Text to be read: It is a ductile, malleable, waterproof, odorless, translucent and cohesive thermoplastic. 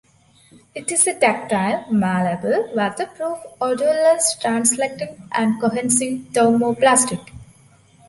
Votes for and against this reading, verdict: 0, 2, rejected